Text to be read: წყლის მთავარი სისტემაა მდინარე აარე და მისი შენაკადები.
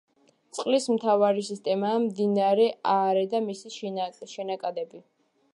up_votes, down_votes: 1, 2